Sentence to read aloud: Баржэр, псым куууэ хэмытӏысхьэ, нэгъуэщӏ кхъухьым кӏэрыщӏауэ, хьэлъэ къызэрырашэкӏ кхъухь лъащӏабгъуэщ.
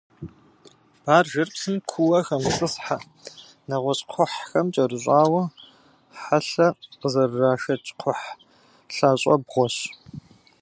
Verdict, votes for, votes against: rejected, 0, 2